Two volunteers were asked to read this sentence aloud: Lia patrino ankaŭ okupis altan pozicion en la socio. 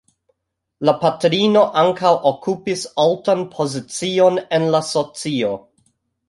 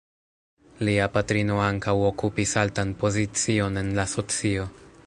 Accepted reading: first